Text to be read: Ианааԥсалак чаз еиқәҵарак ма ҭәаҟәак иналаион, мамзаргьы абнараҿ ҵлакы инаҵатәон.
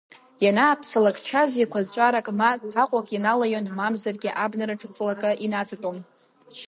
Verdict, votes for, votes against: accepted, 2, 0